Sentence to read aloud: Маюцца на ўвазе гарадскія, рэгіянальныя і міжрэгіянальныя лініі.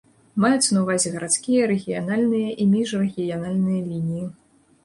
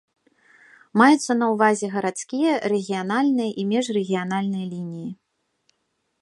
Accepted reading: first